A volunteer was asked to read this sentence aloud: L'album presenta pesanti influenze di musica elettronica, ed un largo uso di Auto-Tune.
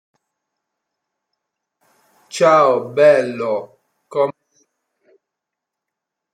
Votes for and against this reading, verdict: 0, 2, rejected